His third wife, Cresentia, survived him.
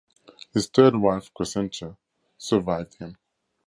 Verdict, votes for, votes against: accepted, 2, 0